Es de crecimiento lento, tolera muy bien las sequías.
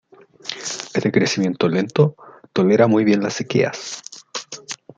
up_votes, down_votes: 2, 1